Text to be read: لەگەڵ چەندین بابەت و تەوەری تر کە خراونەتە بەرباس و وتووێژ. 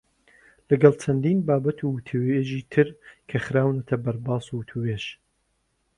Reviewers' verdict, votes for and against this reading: rejected, 0, 2